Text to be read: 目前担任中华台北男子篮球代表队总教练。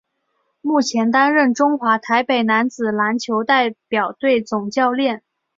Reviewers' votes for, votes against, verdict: 3, 0, accepted